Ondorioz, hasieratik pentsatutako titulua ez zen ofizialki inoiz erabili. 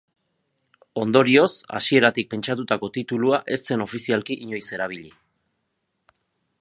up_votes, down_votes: 2, 0